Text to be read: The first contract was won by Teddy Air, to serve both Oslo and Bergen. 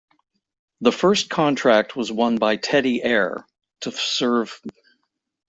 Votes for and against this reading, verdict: 0, 2, rejected